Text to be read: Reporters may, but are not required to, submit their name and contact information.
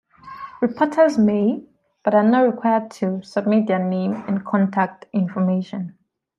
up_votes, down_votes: 2, 1